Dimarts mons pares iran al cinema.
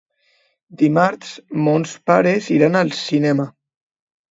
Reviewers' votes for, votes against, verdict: 2, 0, accepted